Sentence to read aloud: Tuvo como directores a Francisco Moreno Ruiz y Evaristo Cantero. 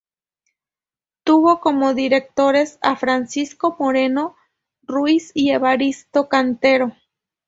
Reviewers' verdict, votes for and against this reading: rejected, 0, 2